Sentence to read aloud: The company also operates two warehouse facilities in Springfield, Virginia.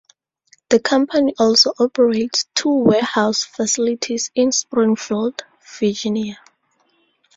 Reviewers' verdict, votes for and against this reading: accepted, 4, 0